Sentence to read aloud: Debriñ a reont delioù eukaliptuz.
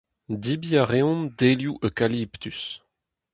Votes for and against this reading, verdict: 2, 2, rejected